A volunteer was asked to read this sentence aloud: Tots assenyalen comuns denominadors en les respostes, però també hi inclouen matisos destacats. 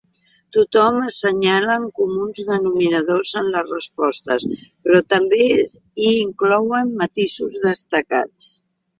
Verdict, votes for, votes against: rejected, 0, 2